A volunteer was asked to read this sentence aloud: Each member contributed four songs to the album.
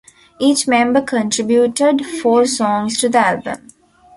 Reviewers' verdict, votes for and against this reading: accepted, 2, 0